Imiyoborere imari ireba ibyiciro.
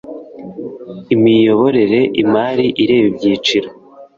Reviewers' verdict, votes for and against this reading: accepted, 2, 0